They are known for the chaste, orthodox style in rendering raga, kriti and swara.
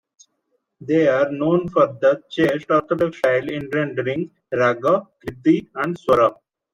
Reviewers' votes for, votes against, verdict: 0, 2, rejected